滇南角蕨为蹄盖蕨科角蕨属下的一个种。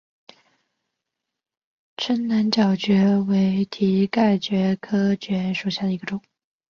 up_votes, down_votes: 0, 5